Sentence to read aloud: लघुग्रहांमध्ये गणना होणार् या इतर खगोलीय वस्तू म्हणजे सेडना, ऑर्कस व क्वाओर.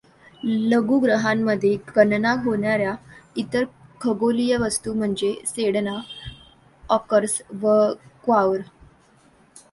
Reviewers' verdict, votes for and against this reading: rejected, 1, 2